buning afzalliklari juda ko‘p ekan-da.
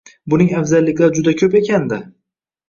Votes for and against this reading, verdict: 1, 2, rejected